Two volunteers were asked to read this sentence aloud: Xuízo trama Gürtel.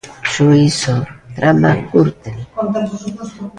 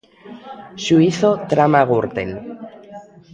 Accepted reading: second